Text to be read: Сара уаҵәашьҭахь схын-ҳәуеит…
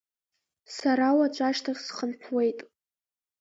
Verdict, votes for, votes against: rejected, 0, 2